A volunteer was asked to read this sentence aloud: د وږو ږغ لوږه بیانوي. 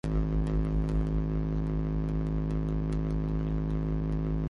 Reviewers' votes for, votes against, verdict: 0, 2, rejected